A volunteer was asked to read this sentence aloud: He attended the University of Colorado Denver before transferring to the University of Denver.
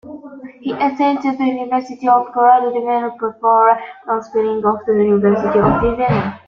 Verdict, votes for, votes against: rejected, 0, 2